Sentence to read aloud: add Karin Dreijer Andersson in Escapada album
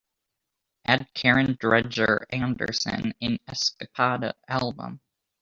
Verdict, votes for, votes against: rejected, 1, 2